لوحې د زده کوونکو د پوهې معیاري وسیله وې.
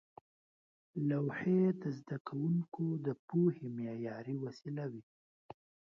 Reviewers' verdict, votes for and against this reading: accepted, 2, 0